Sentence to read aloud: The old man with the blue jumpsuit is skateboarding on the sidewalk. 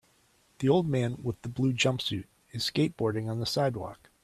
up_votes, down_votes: 2, 0